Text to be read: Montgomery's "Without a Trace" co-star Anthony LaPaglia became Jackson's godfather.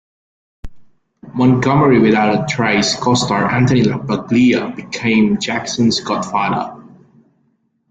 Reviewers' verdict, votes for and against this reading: rejected, 0, 2